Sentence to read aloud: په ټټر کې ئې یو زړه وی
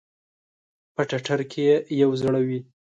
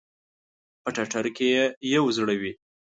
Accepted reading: first